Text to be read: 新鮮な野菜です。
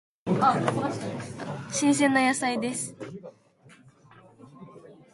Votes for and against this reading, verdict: 2, 0, accepted